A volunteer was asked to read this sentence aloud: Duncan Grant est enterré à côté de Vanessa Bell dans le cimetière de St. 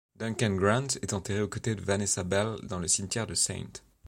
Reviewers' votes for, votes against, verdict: 1, 2, rejected